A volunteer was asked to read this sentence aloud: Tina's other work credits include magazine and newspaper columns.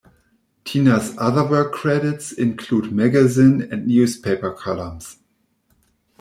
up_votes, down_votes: 2, 0